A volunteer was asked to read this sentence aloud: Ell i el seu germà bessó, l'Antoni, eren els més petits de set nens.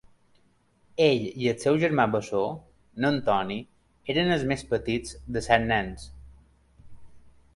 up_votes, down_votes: 1, 2